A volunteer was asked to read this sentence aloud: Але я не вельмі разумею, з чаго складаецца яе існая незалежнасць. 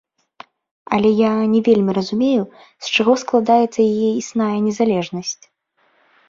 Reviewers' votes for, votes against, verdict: 1, 2, rejected